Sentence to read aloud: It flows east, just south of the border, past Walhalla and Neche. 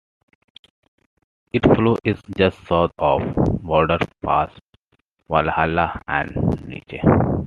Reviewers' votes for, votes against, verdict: 3, 0, accepted